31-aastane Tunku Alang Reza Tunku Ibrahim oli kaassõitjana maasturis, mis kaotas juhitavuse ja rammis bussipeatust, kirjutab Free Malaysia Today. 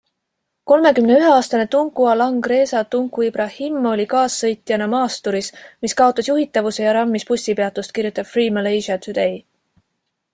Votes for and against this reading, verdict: 0, 2, rejected